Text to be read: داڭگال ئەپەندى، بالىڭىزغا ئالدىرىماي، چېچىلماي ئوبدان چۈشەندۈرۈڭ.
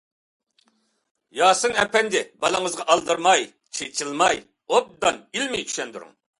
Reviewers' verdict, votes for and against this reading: rejected, 0, 2